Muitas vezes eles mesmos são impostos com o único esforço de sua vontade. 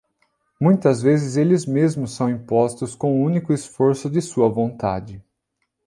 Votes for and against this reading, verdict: 2, 0, accepted